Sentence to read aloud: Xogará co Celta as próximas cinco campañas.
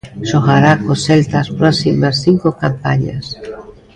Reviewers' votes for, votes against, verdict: 2, 1, accepted